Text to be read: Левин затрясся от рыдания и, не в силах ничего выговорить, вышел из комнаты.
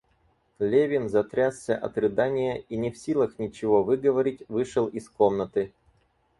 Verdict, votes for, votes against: accepted, 4, 0